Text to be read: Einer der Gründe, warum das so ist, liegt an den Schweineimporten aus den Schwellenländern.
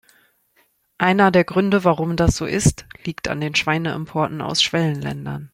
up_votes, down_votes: 1, 2